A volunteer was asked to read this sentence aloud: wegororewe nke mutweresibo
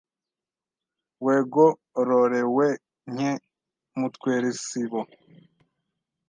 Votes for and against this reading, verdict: 1, 2, rejected